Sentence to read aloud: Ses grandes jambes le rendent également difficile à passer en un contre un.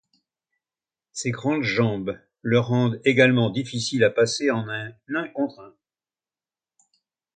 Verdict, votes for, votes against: rejected, 1, 2